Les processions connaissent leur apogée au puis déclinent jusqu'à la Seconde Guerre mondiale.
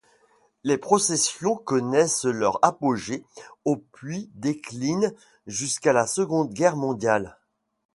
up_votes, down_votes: 2, 0